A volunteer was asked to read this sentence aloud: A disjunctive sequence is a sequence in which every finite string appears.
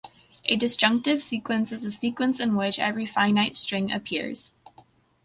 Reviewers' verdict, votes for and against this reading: accepted, 2, 0